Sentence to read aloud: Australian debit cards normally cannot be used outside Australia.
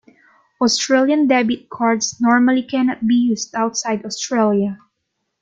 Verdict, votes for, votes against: accepted, 3, 0